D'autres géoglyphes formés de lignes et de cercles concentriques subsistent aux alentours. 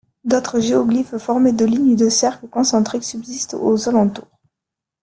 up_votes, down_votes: 3, 2